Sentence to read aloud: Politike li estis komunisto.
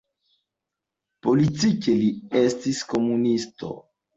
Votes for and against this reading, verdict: 2, 0, accepted